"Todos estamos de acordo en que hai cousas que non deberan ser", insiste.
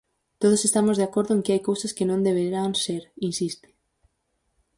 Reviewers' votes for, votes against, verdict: 2, 4, rejected